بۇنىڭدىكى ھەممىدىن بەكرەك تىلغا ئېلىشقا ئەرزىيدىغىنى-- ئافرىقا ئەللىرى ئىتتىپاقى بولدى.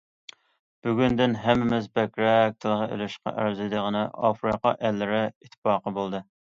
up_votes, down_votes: 0, 2